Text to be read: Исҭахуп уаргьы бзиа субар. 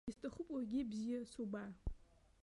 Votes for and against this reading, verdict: 0, 2, rejected